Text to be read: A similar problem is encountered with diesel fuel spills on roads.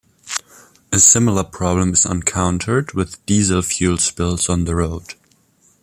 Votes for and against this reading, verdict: 0, 2, rejected